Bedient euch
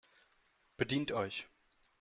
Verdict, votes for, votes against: accepted, 4, 0